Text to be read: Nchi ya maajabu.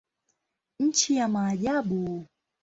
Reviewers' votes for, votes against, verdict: 2, 0, accepted